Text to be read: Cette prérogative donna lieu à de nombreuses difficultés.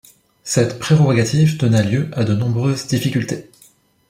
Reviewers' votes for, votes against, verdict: 0, 2, rejected